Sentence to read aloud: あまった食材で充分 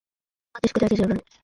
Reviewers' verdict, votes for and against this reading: rejected, 0, 2